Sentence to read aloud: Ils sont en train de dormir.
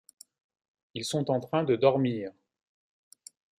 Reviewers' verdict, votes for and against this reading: accepted, 2, 0